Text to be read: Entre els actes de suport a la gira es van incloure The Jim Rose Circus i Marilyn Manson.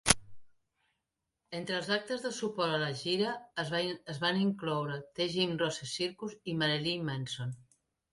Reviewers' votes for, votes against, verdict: 0, 2, rejected